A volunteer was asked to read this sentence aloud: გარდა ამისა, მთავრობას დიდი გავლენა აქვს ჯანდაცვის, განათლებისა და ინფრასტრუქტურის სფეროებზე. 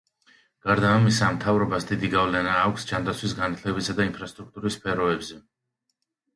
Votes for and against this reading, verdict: 2, 0, accepted